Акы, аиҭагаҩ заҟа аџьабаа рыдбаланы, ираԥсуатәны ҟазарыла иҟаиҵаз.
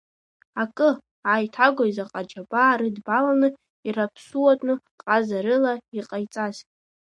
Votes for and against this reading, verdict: 0, 2, rejected